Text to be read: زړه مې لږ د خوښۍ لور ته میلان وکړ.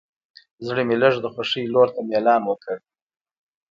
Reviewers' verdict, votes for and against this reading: accepted, 2, 0